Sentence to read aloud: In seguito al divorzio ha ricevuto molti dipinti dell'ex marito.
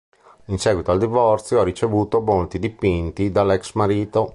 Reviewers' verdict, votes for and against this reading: rejected, 1, 3